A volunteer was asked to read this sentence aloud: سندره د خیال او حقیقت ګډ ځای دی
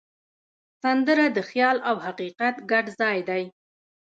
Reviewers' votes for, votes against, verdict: 2, 1, accepted